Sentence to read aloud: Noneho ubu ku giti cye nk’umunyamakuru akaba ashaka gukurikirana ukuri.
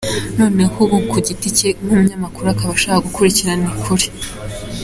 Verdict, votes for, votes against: accepted, 2, 0